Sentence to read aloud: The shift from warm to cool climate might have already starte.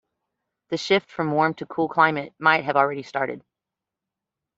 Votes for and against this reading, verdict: 1, 2, rejected